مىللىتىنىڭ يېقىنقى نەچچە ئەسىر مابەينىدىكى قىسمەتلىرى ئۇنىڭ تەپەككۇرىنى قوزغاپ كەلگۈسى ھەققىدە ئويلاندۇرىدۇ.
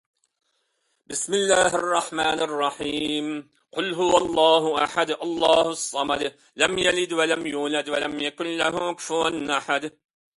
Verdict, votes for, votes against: rejected, 0, 2